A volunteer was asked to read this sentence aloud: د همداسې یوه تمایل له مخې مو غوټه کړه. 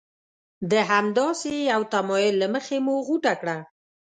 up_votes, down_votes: 3, 0